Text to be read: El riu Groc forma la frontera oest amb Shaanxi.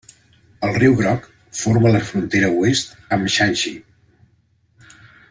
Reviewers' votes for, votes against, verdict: 1, 2, rejected